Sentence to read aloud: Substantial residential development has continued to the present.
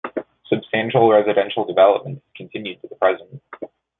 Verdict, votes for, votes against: rejected, 0, 2